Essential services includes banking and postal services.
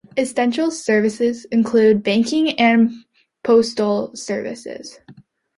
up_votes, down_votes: 2, 0